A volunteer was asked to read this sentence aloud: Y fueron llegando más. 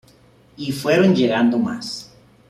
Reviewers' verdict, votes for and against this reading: accepted, 2, 0